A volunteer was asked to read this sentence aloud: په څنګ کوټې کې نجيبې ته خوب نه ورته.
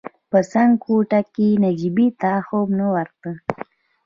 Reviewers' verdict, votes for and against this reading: accepted, 2, 0